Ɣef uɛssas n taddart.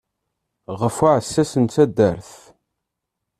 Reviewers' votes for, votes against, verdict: 2, 0, accepted